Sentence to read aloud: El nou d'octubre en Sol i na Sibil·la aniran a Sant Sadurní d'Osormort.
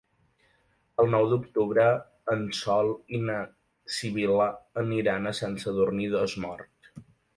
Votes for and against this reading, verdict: 1, 2, rejected